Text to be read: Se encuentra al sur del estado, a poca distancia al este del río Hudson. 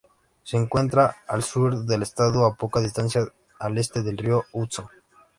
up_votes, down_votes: 2, 0